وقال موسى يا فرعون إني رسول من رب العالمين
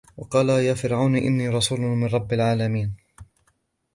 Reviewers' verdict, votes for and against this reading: rejected, 1, 2